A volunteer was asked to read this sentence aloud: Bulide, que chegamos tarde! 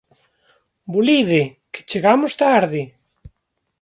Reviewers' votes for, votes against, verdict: 2, 0, accepted